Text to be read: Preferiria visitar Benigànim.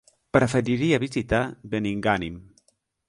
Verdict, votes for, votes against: rejected, 0, 2